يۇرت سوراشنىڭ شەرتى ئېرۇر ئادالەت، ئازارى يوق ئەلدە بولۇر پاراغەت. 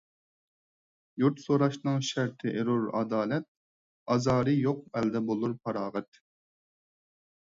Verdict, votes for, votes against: accepted, 4, 0